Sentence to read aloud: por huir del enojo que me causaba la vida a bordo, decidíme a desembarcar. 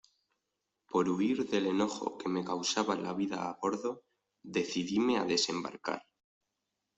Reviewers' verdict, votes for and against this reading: accepted, 2, 0